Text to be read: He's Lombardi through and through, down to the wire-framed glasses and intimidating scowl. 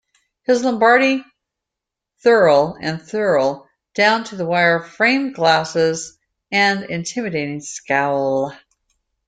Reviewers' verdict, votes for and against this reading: rejected, 0, 2